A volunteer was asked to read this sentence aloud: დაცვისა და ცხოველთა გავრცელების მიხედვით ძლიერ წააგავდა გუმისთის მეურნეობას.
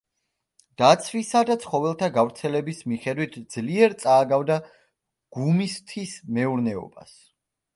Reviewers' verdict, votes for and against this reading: accepted, 2, 0